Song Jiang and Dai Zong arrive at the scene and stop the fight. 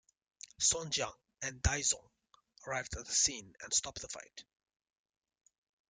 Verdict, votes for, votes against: accepted, 2, 1